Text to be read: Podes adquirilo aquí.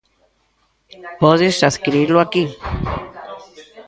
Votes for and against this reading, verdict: 0, 2, rejected